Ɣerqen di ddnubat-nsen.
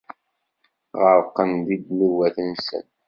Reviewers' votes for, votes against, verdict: 2, 0, accepted